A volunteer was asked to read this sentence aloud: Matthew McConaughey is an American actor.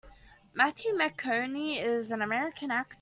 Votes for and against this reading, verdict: 0, 2, rejected